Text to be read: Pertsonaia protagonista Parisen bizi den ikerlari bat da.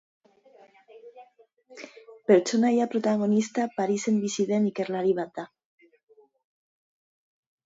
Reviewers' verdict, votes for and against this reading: accepted, 2, 0